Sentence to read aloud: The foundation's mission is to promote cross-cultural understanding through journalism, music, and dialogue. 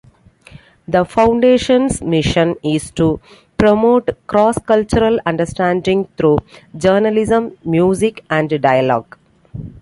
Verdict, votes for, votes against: accepted, 2, 0